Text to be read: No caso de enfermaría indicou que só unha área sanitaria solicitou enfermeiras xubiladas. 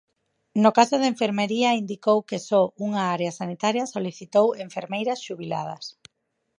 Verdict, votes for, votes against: rejected, 0, 4